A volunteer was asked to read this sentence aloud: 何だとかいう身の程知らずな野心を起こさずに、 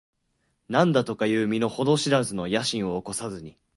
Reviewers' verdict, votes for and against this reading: rejected, 1, 2